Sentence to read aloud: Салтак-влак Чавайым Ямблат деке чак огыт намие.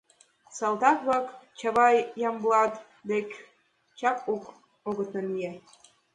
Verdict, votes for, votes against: rejected, 1, 2